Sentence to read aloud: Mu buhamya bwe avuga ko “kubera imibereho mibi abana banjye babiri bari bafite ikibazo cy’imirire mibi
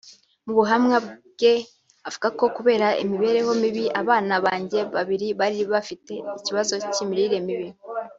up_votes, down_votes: 1, 2